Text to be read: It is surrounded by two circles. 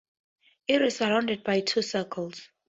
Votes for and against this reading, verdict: 2, 0, accepted